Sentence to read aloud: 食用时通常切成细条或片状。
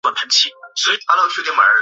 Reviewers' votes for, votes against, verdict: 0, 5, rejected